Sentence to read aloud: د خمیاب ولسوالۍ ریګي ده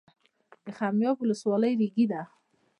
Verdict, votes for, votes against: accepted, 2, 1